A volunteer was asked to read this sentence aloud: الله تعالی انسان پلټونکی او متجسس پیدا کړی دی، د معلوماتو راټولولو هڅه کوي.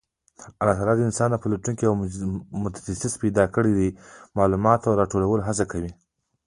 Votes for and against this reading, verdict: 0, 2, rejected